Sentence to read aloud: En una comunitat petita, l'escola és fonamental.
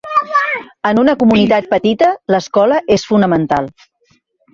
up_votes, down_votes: 0, 2